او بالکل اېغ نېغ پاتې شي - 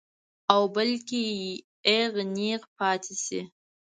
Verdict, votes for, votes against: rejected, 1, 2